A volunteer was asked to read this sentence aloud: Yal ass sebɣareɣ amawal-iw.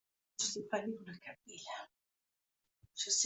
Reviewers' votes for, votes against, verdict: 0, 2, rejected